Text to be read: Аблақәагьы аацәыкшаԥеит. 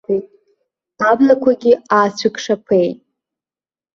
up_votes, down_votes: 1, 2